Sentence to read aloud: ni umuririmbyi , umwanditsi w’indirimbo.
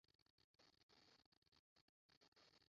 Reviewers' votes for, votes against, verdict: 0, 2, rejected